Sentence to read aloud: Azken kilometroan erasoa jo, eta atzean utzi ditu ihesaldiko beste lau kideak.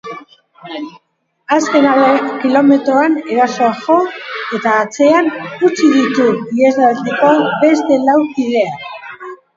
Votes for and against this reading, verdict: 2, 2, rejected